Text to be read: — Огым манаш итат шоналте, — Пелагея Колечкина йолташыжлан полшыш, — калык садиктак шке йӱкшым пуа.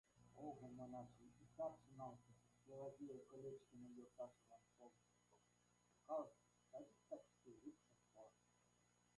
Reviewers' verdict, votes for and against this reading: rejected, 0, 2